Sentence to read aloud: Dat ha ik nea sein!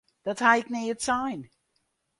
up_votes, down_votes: 0, 4